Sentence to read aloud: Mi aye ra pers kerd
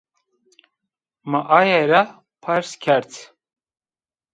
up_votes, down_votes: 2, 0